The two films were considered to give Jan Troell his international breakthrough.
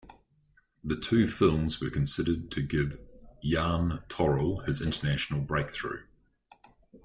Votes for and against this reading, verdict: 1, 2, rejected